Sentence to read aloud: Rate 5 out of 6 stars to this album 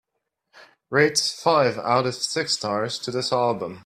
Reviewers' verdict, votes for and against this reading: rejected, 0, 2